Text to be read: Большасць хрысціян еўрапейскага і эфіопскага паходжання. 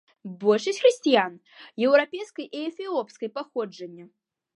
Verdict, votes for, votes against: rejected, 0, 2